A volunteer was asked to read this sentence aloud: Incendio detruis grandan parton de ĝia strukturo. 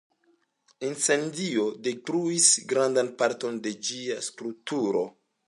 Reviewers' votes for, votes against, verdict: 2, 0, accepted